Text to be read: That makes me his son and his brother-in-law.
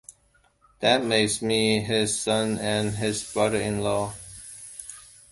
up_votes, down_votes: 1, 2